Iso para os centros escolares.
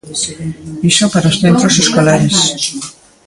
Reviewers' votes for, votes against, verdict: 1, 2, rejected